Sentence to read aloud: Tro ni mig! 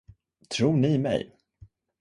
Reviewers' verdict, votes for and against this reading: accepted, 2, 0